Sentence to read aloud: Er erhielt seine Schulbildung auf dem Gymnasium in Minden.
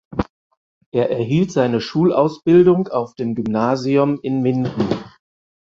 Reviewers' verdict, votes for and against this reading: rejected, 0, 4